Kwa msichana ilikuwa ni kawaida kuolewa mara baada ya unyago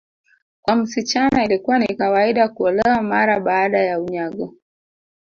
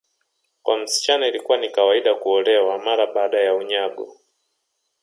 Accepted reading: first